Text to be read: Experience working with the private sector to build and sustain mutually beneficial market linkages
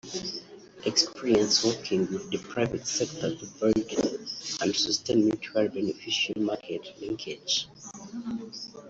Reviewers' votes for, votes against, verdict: 0, 2, rejected